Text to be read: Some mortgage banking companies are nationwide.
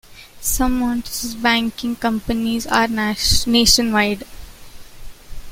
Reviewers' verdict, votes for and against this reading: rejected, 0, 2